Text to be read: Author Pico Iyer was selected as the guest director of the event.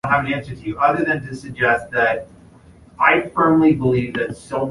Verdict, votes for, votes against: rejected, 0, 2